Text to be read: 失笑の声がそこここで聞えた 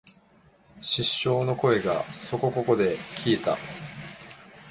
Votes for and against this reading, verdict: 1, 2, rejected